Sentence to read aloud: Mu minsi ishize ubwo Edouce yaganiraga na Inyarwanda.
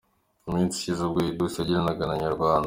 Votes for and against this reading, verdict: 2, 1, accepted